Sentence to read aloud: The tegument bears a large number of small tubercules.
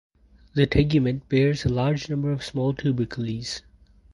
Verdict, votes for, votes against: rejected, 2, 2